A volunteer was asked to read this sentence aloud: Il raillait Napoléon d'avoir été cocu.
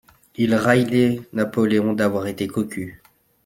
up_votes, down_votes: 1, 2